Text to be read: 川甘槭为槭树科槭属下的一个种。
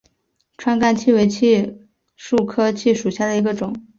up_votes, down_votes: 2, 0